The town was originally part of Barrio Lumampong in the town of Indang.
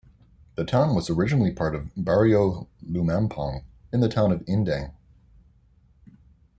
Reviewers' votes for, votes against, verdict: 2, 1, accepted